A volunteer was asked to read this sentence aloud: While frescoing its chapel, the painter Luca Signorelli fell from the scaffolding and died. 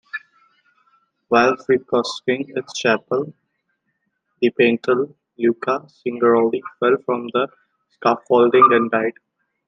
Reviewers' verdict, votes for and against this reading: rejected, 1, 2